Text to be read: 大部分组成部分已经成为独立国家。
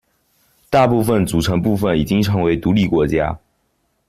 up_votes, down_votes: 2, 0